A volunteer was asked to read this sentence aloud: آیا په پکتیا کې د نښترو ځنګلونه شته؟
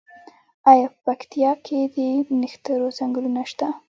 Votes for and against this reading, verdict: 2, 0, accepted